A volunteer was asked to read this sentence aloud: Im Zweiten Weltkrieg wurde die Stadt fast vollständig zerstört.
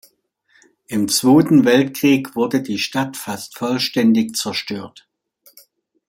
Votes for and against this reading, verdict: 1, 2, rejected